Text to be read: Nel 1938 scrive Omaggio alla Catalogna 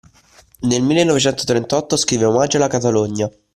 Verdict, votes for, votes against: rejected, 0, 2